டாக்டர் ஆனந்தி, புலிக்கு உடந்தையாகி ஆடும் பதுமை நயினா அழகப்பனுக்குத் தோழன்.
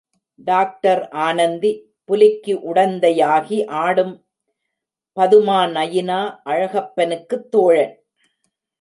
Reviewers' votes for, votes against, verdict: 1, 2, rejected